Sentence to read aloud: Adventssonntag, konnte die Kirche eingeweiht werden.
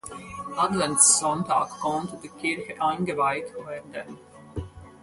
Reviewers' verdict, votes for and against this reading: accepted, 4, 0